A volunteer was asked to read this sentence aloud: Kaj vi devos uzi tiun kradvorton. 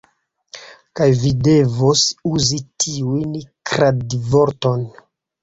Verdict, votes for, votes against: accepted, 2, 0